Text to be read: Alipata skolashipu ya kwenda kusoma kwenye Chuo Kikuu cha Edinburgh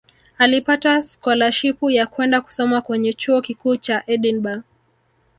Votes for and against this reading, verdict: 1, 2, rejected